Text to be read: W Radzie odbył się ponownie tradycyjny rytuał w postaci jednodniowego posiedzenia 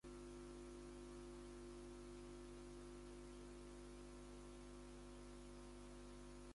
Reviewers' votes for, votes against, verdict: 0, 2, rejected